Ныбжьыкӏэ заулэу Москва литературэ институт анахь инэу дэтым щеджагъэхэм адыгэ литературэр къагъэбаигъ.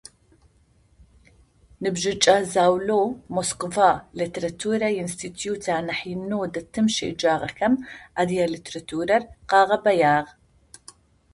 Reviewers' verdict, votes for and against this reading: rejected, 0, 2